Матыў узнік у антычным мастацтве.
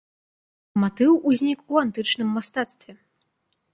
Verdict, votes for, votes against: accepted, 2, 0